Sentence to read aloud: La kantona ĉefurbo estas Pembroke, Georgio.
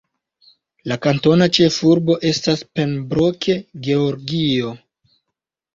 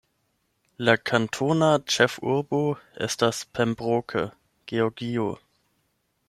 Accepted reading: second